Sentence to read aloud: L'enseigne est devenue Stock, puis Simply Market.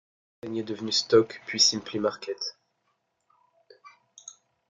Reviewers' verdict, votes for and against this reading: rejected, 1, 2